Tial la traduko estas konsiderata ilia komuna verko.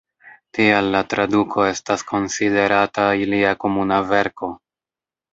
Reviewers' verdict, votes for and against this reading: rejected, 0, 2